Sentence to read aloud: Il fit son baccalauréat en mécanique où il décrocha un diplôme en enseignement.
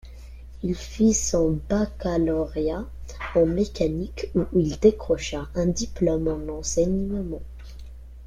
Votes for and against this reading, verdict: 2, 1, accepted